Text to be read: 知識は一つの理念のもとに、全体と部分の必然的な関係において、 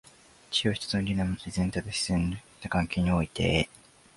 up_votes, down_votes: 2, 1